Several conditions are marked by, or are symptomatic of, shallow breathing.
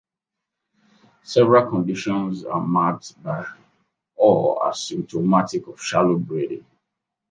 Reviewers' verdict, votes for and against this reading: accepted, 2, 0